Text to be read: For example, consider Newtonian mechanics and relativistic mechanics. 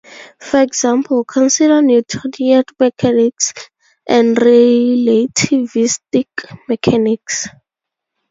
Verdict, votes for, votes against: rejected, 0, 2